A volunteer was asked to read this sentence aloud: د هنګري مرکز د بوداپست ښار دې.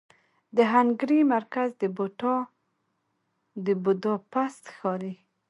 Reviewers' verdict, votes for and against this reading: rejected, 1, 2